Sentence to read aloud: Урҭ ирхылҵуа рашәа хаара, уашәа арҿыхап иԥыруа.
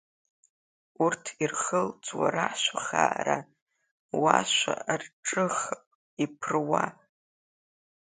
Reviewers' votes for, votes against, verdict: 2, 1, accepted